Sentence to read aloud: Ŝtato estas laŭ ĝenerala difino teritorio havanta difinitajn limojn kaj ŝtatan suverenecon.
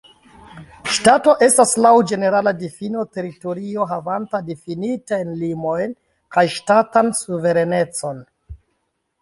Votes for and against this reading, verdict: 2, 0, accepted